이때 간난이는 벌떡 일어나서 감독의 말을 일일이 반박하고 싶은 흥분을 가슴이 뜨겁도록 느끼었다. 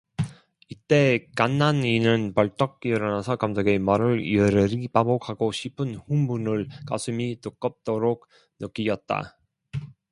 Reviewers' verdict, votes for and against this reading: rejected, 0, 2